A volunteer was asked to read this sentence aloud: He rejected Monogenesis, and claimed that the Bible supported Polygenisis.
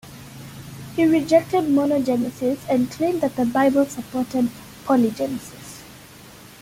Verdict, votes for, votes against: accepted, 2, 0